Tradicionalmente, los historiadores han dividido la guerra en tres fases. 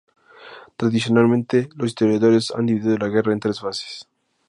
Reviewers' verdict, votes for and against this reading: accepted, 2, 0